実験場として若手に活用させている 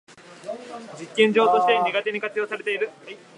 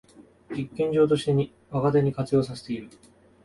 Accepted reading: second